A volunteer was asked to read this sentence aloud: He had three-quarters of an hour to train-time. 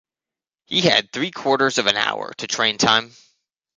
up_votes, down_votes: 2, 0